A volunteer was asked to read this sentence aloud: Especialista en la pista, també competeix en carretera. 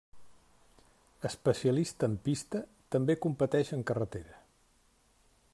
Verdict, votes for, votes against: rejected, 0, 2